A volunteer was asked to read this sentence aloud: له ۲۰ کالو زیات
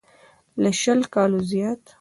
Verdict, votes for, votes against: rejected, 0, 2